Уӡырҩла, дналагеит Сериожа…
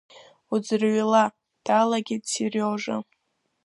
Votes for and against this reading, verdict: 2, 0, accepted